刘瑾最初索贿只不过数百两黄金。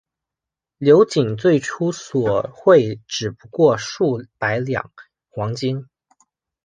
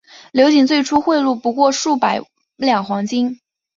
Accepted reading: first